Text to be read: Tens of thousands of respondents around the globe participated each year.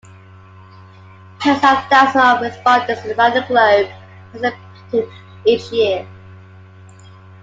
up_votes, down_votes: 0, 2